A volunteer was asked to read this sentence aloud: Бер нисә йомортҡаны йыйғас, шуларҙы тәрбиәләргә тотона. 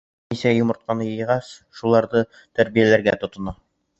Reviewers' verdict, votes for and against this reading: rejected, 2, 3